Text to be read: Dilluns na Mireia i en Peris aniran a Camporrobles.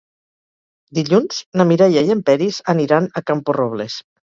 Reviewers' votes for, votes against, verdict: 2, 2, rejected